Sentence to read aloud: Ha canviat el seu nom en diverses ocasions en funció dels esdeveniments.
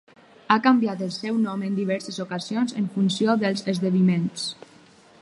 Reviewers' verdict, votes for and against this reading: rejected, 0, 4